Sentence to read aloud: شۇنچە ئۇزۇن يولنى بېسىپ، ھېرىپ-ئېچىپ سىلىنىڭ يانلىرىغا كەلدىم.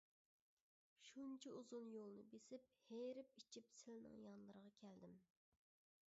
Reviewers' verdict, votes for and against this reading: rejected, 0, 2